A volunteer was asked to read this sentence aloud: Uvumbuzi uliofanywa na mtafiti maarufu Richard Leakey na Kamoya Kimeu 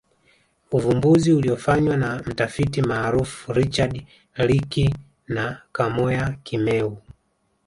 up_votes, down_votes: 2, 0